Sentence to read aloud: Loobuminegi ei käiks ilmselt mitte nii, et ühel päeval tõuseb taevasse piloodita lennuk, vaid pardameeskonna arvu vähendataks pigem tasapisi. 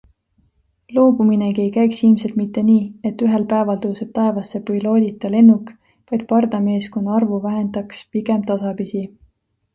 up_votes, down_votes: 0, 2